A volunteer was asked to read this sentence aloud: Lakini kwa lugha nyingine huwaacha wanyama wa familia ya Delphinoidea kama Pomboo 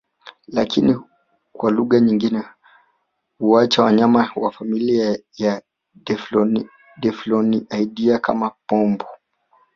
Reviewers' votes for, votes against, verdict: 0, 2, rejected